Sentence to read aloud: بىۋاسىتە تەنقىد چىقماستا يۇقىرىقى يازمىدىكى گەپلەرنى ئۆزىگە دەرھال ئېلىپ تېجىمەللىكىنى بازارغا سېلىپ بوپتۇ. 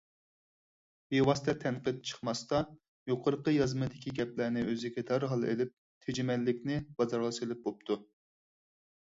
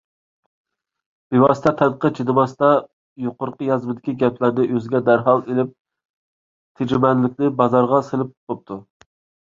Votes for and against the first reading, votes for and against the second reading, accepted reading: 4, 0, 0, 2, first